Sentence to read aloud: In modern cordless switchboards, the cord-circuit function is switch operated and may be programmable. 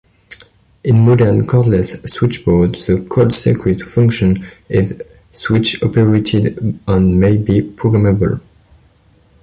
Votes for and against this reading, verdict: 2, 0, accepted